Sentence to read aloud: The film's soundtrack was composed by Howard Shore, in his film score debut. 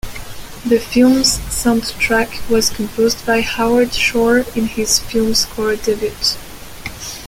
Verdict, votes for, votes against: rejected, 0, 2